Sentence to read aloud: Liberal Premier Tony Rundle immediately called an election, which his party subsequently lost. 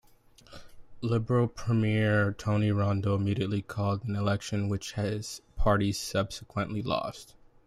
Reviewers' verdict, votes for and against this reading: accepted, 2, 0